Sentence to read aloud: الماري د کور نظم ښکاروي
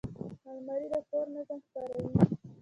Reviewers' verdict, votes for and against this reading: accepted, 2, 0